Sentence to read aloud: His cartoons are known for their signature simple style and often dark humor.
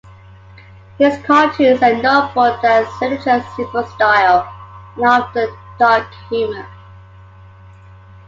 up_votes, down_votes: 2, 1